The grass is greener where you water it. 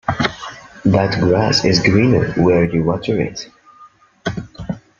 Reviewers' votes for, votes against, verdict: 0, 2, rejected